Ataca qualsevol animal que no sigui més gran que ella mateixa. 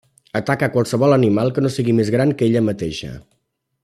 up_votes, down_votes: 2, 0